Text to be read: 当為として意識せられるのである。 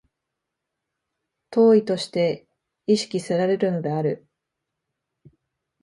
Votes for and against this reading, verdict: 2, 0, accepted